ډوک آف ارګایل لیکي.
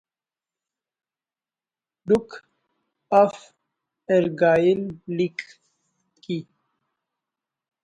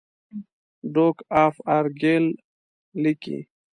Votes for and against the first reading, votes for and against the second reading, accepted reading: 1, 2, 2, 0, second